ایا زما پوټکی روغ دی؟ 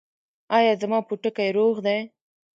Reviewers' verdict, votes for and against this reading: accepted, 2, 1